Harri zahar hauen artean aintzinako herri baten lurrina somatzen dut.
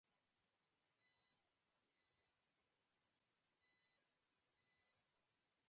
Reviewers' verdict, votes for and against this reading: rejected, 0, 2